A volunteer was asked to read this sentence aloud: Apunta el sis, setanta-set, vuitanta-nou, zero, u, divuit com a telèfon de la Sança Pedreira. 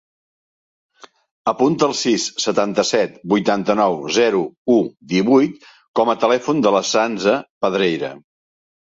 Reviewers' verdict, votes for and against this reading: accepted, 2, 1